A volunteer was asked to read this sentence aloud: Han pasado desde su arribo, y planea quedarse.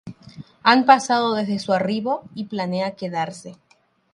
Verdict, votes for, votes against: accepted, 3, 0